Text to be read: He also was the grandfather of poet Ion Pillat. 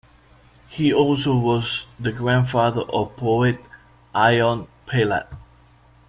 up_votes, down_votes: 2, 0